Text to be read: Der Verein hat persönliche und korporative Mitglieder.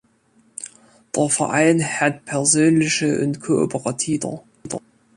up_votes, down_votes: 0, 2